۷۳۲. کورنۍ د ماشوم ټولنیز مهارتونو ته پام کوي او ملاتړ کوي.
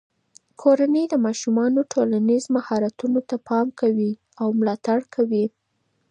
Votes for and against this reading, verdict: 0, 2, rejected